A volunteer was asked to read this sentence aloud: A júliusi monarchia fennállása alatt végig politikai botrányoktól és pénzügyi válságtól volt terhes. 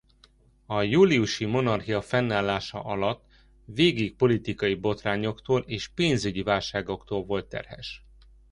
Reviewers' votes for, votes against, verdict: 0, 2, rejected